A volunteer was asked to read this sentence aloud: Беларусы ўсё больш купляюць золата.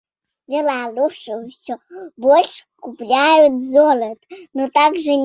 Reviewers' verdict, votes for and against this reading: rejected, 0, 2